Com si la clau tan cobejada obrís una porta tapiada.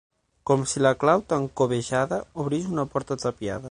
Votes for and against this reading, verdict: 6, 0, accepted